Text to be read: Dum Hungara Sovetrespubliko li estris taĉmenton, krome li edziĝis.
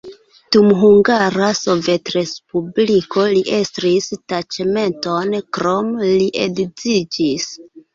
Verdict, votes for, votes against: rejected, 0, 2